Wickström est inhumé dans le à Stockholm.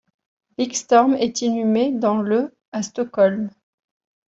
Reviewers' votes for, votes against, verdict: 1, 2, rejected